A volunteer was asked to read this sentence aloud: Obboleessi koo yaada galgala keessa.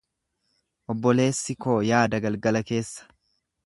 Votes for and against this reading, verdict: 2, 0, accepted